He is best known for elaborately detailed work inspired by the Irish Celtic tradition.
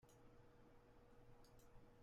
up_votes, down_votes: 0, 2